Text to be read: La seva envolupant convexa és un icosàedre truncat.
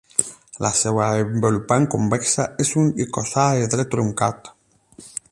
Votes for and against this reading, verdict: 4, 8, rejected